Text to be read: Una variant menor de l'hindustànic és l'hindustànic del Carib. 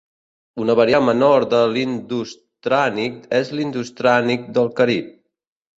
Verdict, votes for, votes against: rejected, 0, 2